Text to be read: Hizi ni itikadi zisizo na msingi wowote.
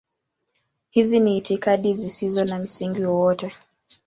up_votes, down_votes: 11, 0